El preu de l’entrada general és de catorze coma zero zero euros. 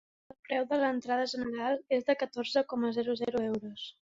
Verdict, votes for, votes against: accepted, 2, 0